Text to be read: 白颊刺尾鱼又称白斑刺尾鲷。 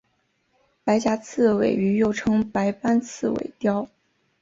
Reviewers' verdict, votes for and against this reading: accepted, 2, 0